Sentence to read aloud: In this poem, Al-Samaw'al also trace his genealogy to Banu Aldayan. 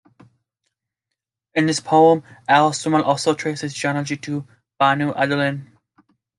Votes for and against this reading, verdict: 0, 2, rejected